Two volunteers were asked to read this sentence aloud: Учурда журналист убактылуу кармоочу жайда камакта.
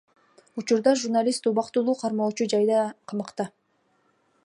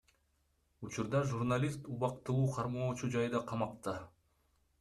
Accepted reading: second